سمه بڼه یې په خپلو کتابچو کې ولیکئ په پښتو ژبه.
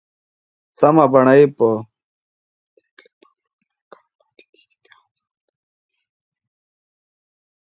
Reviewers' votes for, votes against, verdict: 2, 3, rejected